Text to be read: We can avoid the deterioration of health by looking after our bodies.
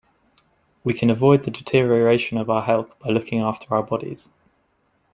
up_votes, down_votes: 1, 2